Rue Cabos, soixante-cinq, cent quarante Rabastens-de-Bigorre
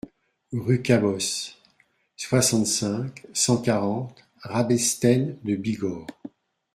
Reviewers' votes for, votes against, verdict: 0, 2, rejected